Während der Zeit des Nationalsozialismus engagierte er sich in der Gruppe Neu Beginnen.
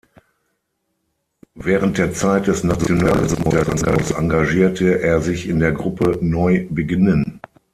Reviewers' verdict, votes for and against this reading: rejected, 0, 6